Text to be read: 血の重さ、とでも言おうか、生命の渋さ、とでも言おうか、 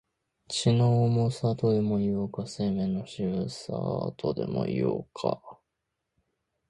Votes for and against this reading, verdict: 2, 3, rejected